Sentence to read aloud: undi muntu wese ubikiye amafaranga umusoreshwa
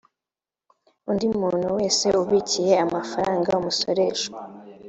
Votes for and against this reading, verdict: 2, 0, accepted